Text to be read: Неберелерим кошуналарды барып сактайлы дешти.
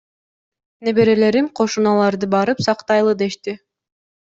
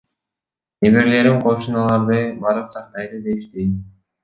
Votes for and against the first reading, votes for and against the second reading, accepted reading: 2, 0, 0, 2, first